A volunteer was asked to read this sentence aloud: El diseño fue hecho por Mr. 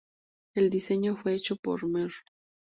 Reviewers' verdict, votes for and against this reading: rejected, 0, 2